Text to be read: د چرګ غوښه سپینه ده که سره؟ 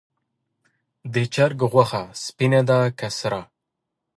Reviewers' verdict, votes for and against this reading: rejected, 1, 2